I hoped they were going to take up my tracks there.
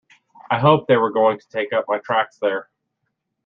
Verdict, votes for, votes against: accepted, 2, 1